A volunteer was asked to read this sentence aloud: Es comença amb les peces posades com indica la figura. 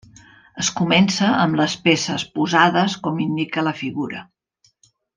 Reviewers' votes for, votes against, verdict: 3, 0, accepted